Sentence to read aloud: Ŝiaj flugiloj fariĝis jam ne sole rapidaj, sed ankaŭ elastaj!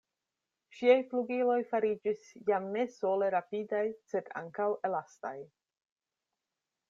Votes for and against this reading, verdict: 2, 0, accepted